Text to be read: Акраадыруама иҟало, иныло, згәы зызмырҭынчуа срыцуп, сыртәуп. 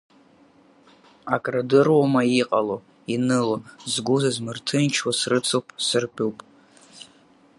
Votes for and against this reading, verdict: 6, 0, accepted